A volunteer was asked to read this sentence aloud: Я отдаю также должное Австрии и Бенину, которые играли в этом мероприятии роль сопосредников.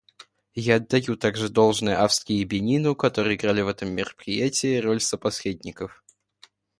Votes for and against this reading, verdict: 2, 0, accepted